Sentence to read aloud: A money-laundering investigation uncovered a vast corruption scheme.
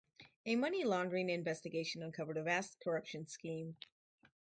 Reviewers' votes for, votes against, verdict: 4, 2, accepted